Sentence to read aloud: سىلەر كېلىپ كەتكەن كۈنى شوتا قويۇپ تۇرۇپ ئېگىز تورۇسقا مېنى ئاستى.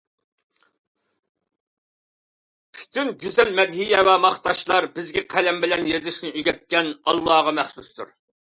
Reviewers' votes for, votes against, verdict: 0, 2, rejected